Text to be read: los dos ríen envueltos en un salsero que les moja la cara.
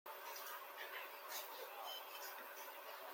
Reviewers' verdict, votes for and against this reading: rejected, 0, 2